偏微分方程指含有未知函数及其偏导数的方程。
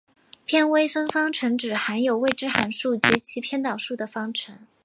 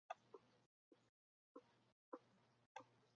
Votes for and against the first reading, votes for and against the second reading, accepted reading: 2, 0, 0, 3, first